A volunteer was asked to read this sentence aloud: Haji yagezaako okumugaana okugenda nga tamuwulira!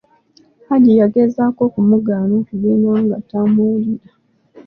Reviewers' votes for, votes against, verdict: 1, 2, rejected